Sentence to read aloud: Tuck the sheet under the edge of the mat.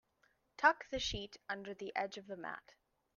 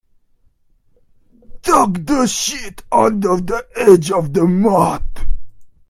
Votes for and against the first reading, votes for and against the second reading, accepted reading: 2, 0, 0, 2, first